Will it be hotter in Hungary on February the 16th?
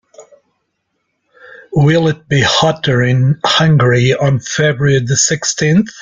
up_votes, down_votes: 0, 2